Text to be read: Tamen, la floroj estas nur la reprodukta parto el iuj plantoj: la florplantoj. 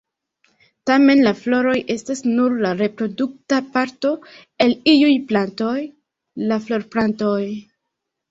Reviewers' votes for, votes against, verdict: 1, 2, rejected